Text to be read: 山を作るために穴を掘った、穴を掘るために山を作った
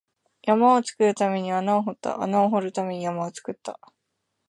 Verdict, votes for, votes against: accepted, 2, 0